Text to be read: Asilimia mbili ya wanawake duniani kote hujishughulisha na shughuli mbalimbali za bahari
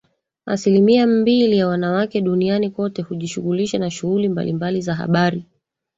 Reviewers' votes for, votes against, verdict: 1, 3, rejected